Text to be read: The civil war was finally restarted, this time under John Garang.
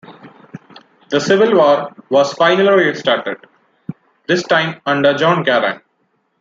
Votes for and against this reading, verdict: 2, 0, accepted